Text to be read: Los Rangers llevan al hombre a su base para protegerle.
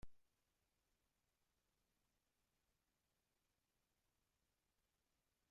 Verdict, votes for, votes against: rejected, 0, 2